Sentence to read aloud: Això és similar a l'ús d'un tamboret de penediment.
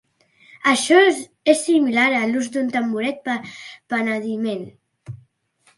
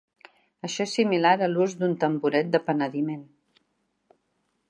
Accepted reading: second